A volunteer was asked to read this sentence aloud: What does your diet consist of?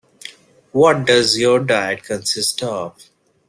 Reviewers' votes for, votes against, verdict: 2, 0, accepted